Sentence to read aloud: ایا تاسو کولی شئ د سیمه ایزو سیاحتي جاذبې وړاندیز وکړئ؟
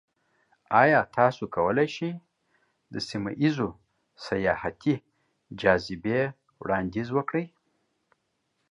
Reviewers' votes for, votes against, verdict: 2, 1, accepted